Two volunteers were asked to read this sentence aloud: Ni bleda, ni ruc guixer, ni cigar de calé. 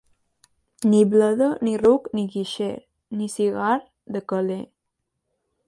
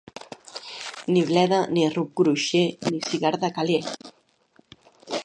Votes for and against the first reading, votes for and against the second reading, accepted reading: 1, 2, 2, 1, second